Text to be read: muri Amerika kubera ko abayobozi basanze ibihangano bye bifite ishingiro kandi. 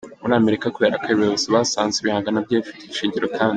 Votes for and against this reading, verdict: 2, 0, accepted